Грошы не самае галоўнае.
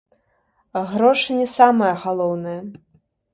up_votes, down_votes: 2, 0